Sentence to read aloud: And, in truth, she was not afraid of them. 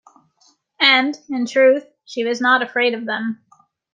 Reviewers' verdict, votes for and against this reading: accepted, 2, 0